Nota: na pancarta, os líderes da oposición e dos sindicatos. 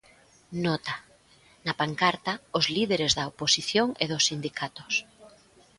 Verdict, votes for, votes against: accepted, 3, 0